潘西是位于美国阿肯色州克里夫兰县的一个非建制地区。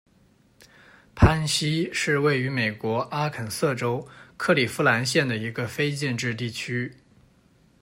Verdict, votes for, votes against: accepted, 2, 0